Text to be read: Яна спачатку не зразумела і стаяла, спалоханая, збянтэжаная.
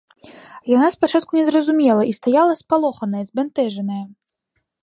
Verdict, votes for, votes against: accepted, 2, 0